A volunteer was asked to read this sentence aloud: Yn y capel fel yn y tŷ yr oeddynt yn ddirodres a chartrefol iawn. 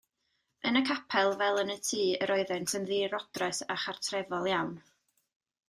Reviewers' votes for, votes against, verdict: 2, 0, accepted